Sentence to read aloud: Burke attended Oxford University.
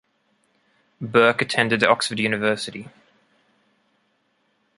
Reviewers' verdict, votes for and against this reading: accepted, 2, 0